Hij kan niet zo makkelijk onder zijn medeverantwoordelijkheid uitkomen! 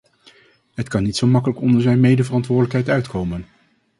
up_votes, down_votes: 0, 2